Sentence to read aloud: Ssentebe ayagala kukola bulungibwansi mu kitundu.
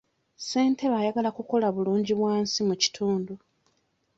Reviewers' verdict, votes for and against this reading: accepted, 2, 0